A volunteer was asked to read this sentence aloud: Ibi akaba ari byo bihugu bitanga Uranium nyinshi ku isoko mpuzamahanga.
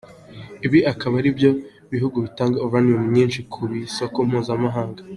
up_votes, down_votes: 3, 0